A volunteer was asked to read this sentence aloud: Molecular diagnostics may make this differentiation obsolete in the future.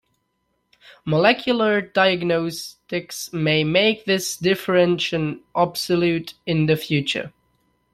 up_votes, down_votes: 0, 2